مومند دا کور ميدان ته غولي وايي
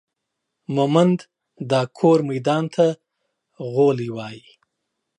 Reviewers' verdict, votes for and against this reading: accepted, 2, 0